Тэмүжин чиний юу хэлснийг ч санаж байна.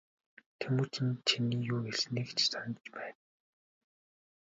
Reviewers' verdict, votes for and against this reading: rejected, 0, 2